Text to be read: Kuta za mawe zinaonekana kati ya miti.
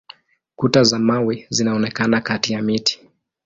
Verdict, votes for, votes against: accepted, 9, 2